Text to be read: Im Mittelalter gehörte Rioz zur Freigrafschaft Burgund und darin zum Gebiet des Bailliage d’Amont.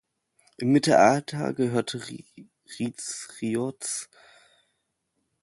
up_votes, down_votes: 0, 3